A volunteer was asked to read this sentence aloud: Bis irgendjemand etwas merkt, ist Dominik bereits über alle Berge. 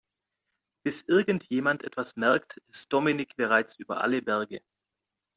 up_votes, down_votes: 2, 0